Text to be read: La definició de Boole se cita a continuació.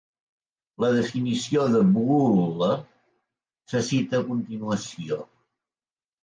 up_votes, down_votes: 2, 0